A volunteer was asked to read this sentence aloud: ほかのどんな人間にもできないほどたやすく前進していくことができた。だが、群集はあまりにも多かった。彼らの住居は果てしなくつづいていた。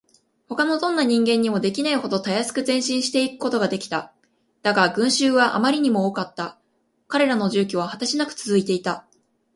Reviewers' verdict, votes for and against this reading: accepted, 2, 0